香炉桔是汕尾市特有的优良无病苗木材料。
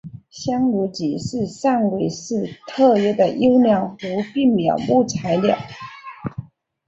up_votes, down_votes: 3, 0